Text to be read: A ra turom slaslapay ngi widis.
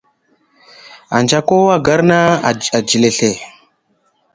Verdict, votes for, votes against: rejected, 0, 2